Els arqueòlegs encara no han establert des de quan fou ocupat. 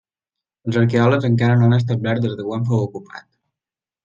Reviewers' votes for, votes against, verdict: 3, 1, accepted